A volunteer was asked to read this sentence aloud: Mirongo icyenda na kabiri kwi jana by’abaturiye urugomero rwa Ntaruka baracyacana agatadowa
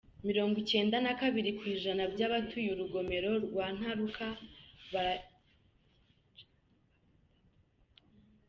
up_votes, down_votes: 0, 2